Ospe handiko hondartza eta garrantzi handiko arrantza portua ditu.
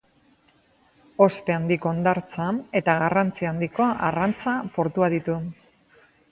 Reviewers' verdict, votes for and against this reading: rejected, 2, 2